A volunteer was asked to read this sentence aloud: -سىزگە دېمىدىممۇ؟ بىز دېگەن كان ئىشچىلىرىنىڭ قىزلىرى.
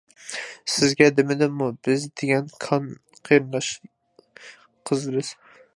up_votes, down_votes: 0, 2